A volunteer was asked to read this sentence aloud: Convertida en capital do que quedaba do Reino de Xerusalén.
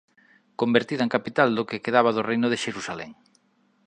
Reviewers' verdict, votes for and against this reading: accepted, 2, 0